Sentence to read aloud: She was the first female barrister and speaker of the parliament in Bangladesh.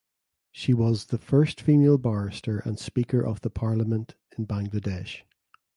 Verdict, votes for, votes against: accepted, 2, 0